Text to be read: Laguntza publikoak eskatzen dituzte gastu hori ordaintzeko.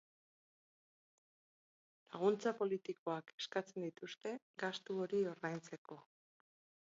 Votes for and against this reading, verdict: 0, 4, rejected